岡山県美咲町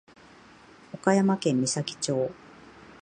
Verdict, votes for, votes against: accepted, 16, 1